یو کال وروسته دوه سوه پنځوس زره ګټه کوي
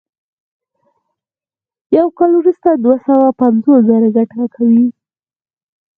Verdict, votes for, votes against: rejected, 2, 4